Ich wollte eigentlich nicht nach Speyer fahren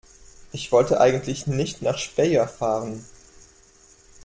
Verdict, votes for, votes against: rejected, 1, 2